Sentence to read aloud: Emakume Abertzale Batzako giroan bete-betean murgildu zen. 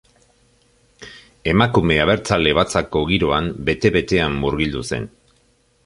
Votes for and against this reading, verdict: 2, 0, accepted